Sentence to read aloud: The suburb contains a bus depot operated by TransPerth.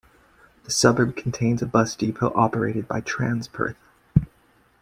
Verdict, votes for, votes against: accepted, 2, 1